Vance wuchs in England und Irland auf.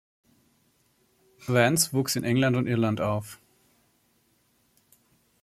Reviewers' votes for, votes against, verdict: 2, 0, accepted